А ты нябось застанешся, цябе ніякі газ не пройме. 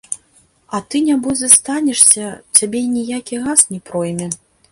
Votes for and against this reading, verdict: 1, 2, rejected